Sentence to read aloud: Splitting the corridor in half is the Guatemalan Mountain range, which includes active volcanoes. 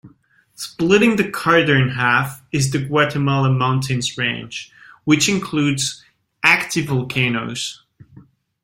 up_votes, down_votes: 0, 2